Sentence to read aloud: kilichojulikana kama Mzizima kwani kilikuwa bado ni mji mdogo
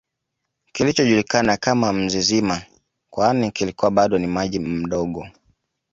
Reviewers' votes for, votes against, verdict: 1, 2, rejected